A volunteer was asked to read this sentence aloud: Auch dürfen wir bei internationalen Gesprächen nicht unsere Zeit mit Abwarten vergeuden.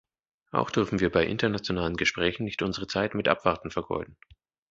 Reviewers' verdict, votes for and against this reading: accepted, 2, 0